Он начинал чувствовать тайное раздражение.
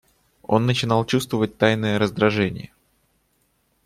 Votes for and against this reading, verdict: 2, 0, accepted